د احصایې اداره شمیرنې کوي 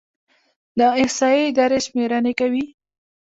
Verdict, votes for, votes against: rejected, 1, 2